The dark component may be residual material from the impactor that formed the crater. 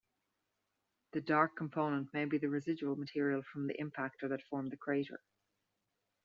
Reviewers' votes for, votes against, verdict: 0, 2, rejected